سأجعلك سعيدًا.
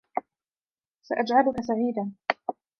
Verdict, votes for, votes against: accepted, 2, 0